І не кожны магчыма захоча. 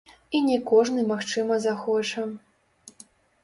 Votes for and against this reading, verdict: 0, 2, rejected